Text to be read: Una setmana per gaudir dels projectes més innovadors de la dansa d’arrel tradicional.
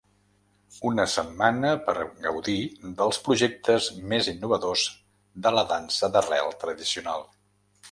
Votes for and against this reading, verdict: 2, 0, accepted